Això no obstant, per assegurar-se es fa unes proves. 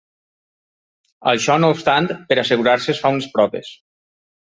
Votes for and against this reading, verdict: 2, 1, accepted